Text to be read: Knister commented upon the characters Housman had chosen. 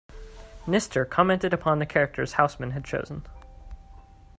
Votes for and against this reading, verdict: 2, 1, accepted